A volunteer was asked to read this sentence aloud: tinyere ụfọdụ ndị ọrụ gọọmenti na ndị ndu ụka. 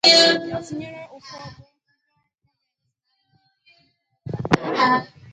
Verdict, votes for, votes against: rejected, 0, 2